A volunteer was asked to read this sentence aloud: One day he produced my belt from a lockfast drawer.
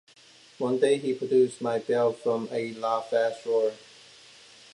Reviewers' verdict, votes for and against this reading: accepted, 2, 0